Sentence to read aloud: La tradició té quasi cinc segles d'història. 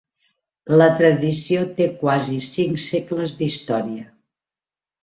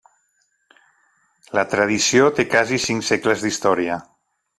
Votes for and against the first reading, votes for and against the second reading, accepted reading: 3, 1, 1, 2, first